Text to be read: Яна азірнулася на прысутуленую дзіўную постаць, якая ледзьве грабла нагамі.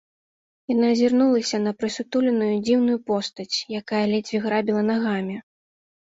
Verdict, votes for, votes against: rejected, 0, 2